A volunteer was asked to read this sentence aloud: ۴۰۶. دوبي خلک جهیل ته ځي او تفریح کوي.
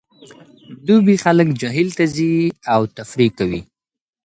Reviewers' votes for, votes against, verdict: 0, 2, rejected